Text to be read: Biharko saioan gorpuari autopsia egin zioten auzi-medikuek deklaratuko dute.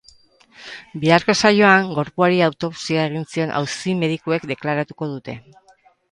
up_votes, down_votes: 2, 2